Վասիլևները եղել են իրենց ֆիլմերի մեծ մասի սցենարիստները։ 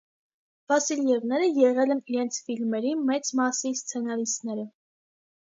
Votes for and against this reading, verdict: 2, 0, accepted